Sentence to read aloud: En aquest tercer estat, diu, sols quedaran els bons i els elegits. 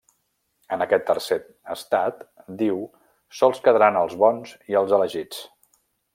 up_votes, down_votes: 1, 2